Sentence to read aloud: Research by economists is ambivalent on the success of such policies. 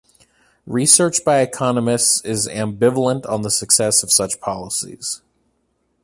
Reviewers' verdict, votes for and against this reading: accepted, 3, 0